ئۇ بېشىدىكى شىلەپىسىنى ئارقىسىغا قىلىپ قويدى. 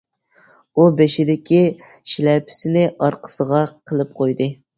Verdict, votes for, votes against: accepted, 3, 0